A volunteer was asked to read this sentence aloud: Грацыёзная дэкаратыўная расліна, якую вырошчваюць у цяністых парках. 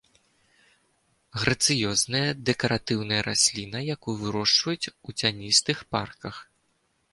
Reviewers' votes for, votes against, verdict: 2, 0, accepted